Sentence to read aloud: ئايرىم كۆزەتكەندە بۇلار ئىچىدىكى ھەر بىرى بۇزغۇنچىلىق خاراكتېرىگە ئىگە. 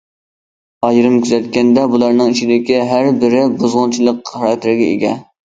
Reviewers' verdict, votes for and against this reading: rejected, 0, 2